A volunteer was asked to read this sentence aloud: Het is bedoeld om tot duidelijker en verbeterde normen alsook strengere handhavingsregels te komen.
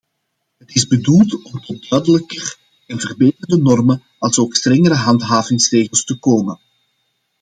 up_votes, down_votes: 2, 1